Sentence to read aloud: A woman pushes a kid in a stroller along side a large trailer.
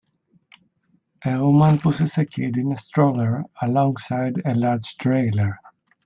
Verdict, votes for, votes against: rejected, 1, 2